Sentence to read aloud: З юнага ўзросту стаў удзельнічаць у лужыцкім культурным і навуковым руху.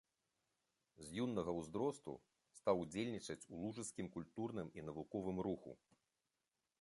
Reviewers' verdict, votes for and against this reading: accepted, 2, 1